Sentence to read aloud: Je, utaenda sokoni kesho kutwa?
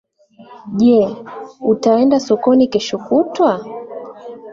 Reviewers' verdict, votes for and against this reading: accepted, 2, 0